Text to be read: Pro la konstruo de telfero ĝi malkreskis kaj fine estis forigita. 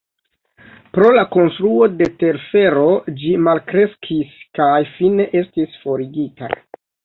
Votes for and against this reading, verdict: 2, 0, accepted